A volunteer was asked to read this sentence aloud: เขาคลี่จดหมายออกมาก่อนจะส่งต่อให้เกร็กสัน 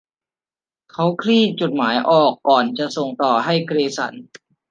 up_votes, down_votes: 1, 2